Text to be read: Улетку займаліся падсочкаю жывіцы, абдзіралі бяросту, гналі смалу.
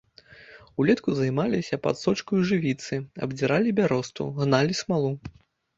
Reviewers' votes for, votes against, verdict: 1, 2, rejected